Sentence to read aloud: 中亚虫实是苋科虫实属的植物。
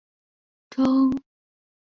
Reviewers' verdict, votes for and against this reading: rejected, 1, 2